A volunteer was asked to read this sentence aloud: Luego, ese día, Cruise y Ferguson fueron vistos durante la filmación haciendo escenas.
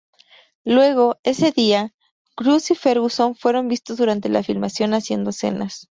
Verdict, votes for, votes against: accepted, 2, 0